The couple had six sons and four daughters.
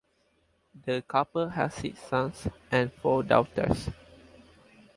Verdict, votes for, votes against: accepted, 4, 0